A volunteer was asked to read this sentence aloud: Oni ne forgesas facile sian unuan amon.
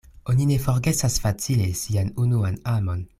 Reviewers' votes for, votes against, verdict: 2, 0, accepted